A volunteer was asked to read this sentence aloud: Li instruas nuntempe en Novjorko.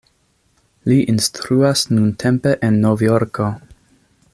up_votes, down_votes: 2, 0